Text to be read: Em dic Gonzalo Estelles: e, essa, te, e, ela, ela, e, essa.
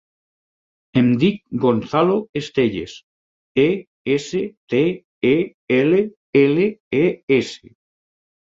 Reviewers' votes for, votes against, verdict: 4, 6, rejected